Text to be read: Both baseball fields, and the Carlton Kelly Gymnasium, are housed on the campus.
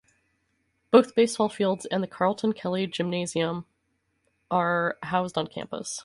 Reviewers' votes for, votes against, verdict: 0, 2, rejected